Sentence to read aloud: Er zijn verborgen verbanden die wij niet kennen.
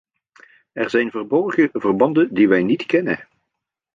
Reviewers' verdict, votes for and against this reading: accepted, 2, 1